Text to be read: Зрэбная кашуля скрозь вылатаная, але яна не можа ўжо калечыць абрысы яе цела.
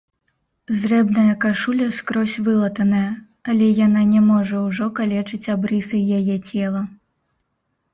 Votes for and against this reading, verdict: 0, 3, rejected